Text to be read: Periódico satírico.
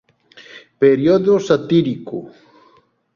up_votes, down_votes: 1, 2